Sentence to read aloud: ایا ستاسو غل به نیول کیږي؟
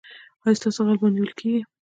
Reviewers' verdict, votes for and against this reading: accepted, 2, 0